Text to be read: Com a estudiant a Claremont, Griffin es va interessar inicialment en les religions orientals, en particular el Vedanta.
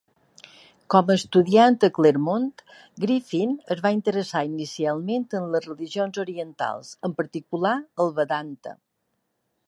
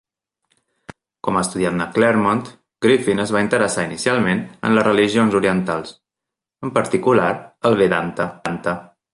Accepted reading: first